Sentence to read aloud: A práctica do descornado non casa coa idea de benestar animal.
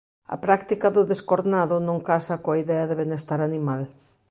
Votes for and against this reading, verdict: 2, 0, accepted